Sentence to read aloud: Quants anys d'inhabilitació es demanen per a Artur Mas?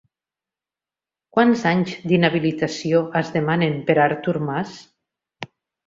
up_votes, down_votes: 2, 0